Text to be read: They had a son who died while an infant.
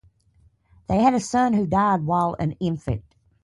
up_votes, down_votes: 2, 0